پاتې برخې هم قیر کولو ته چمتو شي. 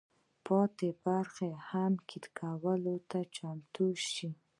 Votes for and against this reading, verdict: 2, 1, accepted